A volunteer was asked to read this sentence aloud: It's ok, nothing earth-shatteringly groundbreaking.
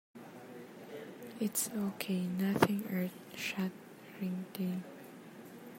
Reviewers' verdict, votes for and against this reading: rejected, 0, 2